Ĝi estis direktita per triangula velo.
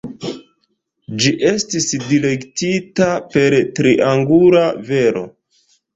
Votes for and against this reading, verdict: 0, 2, rejected